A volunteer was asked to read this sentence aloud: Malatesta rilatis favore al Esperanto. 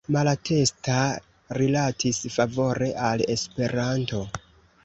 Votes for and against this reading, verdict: 2, 1, accepted